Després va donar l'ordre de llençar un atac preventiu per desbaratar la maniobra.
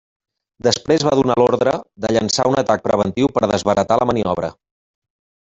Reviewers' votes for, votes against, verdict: 0, 2, rejected